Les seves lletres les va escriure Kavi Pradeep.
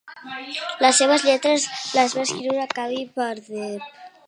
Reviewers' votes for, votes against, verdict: 0, 2, rejected